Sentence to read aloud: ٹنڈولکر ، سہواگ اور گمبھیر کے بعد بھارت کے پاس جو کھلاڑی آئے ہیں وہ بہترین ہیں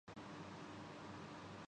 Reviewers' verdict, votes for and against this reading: rejected, 0, 2